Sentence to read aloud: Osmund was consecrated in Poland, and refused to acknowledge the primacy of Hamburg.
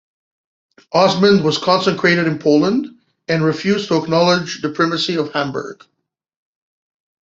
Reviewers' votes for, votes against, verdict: 1, 2, rejected